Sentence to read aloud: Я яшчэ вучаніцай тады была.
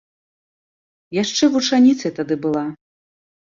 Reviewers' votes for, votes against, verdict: 0, 2, rejected